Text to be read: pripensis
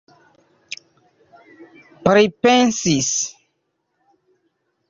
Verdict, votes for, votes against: rejected, 1, 2